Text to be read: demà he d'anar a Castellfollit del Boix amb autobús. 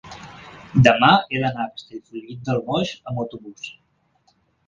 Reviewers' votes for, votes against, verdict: 0, 2, rejected